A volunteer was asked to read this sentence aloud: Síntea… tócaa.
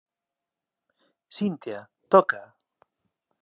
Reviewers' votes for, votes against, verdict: 2, 0, accepted